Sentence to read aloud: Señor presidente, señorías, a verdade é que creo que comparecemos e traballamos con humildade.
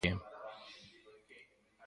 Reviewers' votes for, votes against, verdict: 0, 2, rejected